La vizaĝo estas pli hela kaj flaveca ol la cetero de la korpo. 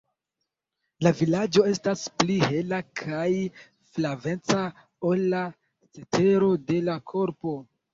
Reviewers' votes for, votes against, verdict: 1, 2, rejected